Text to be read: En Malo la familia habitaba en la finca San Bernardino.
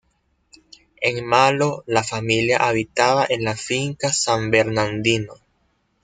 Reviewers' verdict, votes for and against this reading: rejected, 0, 2